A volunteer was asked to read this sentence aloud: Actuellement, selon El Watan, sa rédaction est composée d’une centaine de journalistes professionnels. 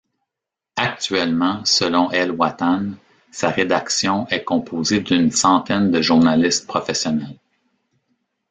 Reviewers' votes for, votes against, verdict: 2, 1, accepted